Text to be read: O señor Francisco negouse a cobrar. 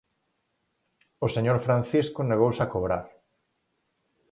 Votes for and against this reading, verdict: 4, 0, accepted